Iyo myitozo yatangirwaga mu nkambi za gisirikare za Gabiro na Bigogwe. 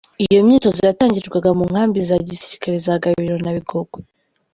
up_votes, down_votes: 2, 0